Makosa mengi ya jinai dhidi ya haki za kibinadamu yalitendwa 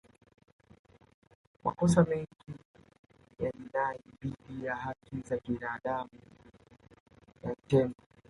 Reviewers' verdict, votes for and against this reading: rejected, 0, 2